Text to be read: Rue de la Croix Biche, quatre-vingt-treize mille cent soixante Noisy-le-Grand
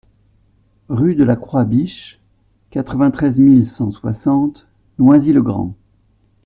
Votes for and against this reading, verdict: 2, 0, accepted